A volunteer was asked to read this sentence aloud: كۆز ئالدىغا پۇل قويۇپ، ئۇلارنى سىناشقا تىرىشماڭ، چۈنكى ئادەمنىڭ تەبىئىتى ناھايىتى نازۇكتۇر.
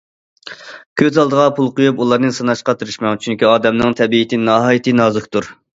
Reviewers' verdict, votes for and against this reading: accepted, 2, 0